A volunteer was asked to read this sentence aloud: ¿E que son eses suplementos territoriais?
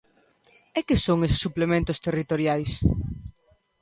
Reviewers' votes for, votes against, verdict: 4, 0, accepted